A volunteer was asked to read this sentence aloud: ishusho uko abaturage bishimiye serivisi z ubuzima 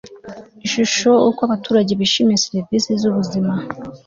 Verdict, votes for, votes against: accepted, 2, 0